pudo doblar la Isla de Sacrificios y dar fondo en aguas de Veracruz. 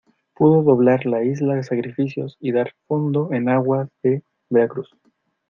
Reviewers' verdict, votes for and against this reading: accepted, 2, 0